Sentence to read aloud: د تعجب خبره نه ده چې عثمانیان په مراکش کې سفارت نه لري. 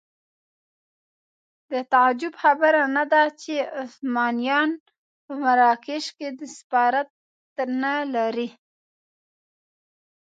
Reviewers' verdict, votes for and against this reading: rejected, 0, 2